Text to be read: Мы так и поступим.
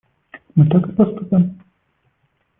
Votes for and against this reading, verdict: 0, 2, rejected